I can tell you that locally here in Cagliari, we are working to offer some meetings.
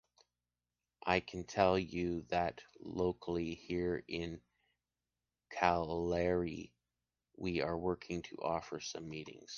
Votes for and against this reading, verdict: 0, 2, rejected